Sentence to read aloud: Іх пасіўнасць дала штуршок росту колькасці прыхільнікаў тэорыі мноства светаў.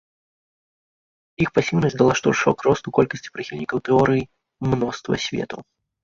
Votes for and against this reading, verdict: 2, 0, accepted